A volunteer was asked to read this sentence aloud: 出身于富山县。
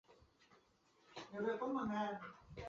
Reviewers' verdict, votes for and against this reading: accepted, 2, 1